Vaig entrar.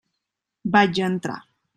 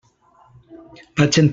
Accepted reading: first